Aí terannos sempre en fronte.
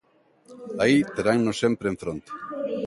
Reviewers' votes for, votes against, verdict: 1, 2, rejected